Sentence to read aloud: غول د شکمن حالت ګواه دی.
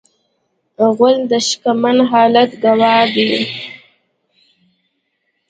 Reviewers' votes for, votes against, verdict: 1, 2, rejected